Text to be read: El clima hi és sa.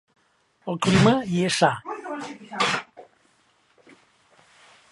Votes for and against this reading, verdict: 1, 2, rejected